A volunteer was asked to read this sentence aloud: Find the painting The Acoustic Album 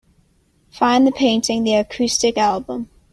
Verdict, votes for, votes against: accepted, 2, 1